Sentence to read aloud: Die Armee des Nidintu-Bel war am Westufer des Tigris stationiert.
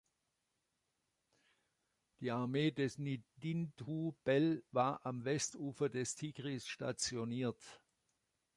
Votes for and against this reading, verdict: 0, 2, rejected